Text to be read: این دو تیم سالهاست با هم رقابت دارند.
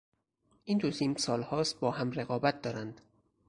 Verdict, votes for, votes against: accepted, 4, 0